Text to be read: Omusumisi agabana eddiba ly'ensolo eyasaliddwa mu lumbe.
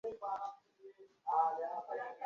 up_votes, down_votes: 0, 2